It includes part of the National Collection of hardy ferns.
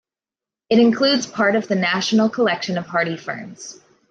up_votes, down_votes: 2, 0